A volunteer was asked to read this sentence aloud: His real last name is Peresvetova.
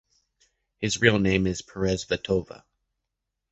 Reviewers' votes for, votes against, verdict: 0, 2, rejected